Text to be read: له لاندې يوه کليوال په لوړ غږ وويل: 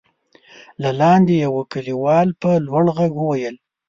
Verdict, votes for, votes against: accepted, 2, 0